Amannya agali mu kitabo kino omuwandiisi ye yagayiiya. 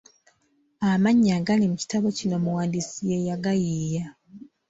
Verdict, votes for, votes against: accepted, 2, 1